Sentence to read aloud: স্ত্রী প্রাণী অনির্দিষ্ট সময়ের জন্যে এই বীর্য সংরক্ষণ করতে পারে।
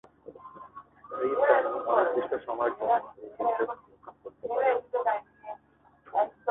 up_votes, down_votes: 1, 3